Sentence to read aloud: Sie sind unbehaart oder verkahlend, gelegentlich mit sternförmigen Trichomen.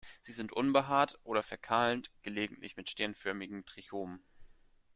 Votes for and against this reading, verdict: 2, 1, accepted